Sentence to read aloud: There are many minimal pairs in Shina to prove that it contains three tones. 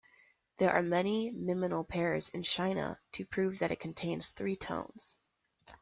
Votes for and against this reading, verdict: 0, 2, rejected